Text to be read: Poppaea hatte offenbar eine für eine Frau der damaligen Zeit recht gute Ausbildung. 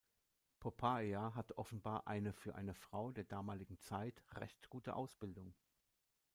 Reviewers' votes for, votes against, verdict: 2, 0, accepted